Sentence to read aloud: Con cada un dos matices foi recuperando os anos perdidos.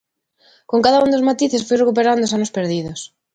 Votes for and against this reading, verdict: 2, 0, accepted